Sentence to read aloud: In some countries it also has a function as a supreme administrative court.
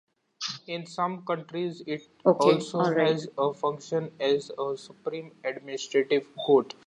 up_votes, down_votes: 0, 2